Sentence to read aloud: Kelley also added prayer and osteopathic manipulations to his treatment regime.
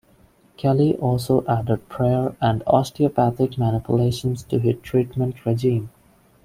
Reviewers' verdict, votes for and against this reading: accepted, 2, 0